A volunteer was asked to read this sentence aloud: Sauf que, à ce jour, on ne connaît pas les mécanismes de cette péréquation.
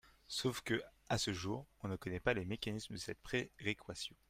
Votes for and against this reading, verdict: 1, 2, rejected